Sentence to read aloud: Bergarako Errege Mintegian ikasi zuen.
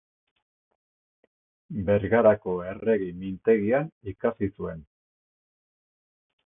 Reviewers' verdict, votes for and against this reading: accepted, 2, 0